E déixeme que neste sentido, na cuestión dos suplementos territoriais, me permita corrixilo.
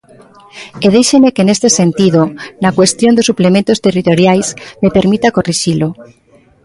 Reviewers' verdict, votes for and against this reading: accepted, 2, 0